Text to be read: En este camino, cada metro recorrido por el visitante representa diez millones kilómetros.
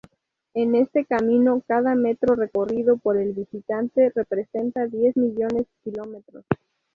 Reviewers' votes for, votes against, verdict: 0, 2, rejected